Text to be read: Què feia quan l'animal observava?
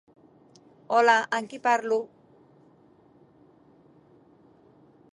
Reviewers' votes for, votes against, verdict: 0, 2, rejected